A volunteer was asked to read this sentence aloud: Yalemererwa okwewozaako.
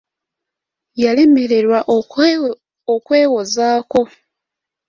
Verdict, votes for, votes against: accepted, 2, 0